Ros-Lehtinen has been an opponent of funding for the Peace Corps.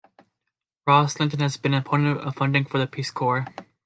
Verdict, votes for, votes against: accepted, 2, 1